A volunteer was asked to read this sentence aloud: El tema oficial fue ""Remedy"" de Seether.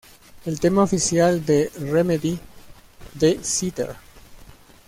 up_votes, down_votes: 1, 2